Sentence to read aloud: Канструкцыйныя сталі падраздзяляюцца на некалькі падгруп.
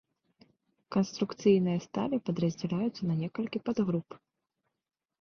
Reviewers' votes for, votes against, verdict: 2, 0, accepted